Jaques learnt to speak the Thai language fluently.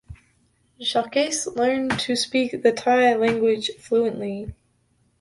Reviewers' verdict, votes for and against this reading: rejected, 0, 2